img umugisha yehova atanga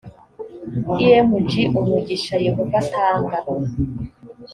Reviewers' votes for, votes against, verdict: 2, 0, accepted